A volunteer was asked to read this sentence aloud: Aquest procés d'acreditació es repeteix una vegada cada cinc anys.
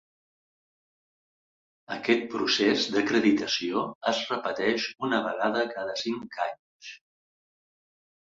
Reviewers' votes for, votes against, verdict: 4, 0, accepted